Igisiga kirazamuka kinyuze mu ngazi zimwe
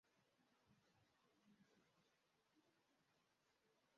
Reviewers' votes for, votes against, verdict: 0, 2, rejected